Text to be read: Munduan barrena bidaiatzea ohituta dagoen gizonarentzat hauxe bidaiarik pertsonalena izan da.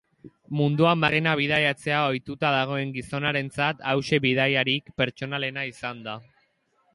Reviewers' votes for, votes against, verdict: 5, 0, accepted